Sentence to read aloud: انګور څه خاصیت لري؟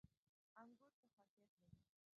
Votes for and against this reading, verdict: 0, 2, rejected